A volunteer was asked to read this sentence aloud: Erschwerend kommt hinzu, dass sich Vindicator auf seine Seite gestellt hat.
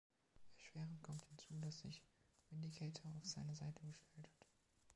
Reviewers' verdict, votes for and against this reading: rejected, 1, 2